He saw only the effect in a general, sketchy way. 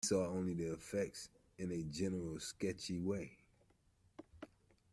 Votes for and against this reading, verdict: 0, 2, rejected